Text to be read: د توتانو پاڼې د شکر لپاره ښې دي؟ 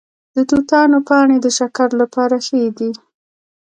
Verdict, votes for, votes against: rejected, 0, 2